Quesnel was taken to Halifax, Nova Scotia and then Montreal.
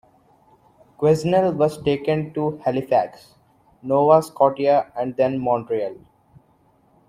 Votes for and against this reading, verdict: 0, 2, rejected